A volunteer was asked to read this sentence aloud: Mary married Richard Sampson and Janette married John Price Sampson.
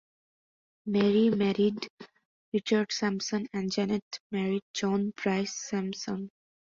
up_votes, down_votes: 2, 0